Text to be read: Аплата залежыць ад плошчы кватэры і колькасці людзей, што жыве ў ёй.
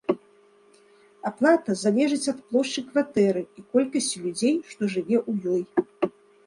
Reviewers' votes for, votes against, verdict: 2, 1, accepted